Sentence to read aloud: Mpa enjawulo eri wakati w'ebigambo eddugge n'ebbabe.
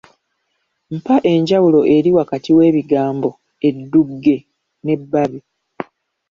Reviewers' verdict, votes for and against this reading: accepted, 2, 0